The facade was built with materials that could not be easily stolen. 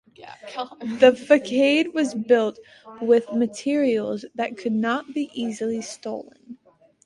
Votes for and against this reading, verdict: 2, 1, accepted